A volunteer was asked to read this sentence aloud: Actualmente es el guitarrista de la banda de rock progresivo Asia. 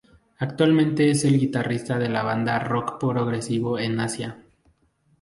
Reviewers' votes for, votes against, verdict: 0, 2, rejected